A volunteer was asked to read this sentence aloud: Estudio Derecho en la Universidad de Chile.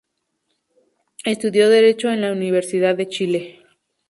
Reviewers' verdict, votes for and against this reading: rejected, 0, 2